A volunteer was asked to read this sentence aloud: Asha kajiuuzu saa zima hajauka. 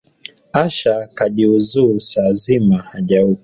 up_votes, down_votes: 1, 2